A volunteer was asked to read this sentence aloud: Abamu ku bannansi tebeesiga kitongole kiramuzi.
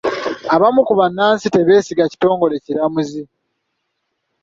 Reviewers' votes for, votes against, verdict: 0, 2, rejected